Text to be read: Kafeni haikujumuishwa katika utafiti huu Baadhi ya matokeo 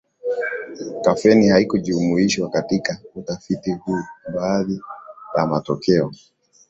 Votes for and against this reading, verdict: 2, 1, accepted